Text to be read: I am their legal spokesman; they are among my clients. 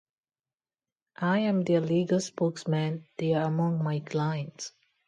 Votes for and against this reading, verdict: 0, 2, rejected